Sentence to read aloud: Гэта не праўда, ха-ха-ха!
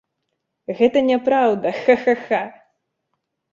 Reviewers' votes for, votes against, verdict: 2, 0, accepted